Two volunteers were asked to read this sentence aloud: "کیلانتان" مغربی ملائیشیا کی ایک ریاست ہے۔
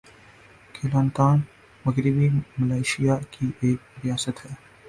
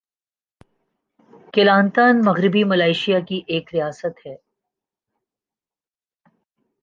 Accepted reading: second